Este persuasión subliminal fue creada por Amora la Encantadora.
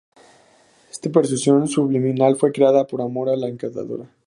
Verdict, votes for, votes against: rejected, 4, 4